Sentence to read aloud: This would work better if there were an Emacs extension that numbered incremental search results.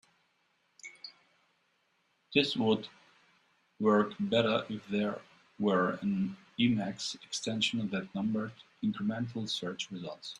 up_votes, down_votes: 2, 0